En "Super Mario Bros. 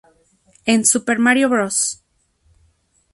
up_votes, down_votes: 2, 0